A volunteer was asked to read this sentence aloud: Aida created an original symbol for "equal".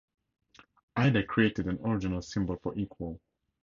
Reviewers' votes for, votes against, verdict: 4, 0, accepted